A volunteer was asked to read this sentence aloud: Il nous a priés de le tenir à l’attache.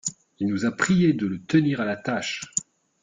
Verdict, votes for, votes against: accepted, 2, 0